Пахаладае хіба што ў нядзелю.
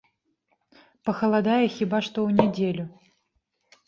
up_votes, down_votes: 2, 0